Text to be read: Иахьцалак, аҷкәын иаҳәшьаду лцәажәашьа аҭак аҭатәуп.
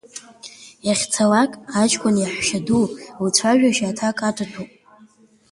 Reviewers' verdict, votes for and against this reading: rejected, 1, 2